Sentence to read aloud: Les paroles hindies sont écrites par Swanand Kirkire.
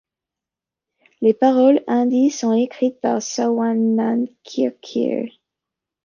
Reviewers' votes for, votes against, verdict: 2, 0, accepted